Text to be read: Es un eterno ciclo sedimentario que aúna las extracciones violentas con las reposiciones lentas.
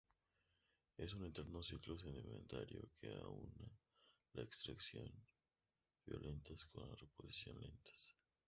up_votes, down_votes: 0, 2